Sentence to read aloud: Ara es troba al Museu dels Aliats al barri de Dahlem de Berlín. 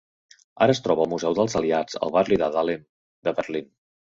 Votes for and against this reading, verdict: 2, 0, accepted